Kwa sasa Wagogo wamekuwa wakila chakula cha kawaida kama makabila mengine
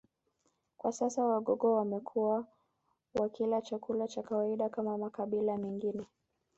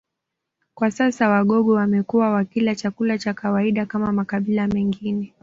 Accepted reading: second